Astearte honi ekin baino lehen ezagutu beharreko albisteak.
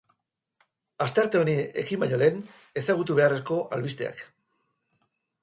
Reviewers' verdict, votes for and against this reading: rejected, 2, 2